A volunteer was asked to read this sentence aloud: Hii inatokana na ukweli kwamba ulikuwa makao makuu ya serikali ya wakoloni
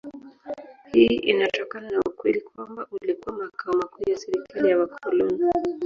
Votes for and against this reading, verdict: 1, 2, rejected